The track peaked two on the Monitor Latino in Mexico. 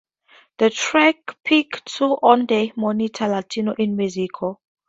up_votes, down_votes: 2, 0